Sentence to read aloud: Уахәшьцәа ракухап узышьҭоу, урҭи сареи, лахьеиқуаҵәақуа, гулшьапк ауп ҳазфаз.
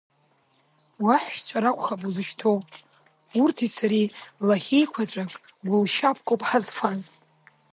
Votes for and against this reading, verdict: 1, 2, rejected